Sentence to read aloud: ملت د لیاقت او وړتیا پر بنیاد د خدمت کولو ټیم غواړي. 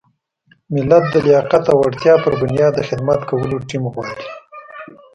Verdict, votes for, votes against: rejected, 1, 2